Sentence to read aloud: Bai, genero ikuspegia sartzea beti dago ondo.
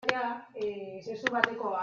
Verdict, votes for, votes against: rejected, 0, 2